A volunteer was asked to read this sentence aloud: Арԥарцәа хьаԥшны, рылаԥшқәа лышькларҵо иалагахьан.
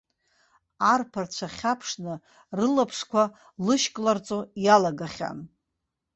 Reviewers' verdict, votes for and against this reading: accepted, 2, 0